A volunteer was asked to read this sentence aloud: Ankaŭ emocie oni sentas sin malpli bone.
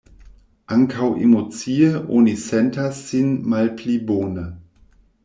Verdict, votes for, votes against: accepted, 2, 0